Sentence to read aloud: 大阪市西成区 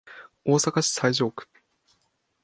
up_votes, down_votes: 2, 3